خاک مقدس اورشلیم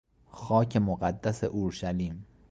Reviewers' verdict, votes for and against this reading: accepted, 2, 0